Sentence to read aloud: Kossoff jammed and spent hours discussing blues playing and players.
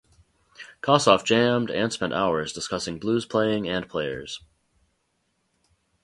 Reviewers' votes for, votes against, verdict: 2, 2, rejected